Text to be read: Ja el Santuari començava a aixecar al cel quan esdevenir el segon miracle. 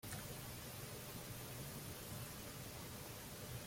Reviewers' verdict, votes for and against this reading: rejected, 0, 2